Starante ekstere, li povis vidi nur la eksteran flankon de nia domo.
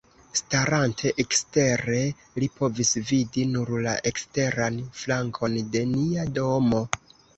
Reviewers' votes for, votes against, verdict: 1, 2, rejected